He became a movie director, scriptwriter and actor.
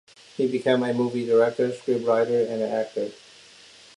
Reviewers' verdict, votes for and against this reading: accepted, 2, 0